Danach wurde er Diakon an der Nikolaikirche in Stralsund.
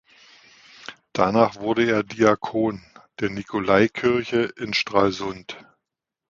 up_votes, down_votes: 0, 2